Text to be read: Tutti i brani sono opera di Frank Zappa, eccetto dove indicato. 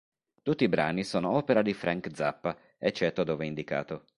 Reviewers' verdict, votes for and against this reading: accepted, 2, 0